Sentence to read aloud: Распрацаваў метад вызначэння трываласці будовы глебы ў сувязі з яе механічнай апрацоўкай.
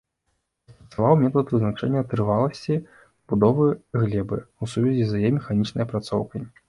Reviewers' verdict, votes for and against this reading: rejected, 0, 2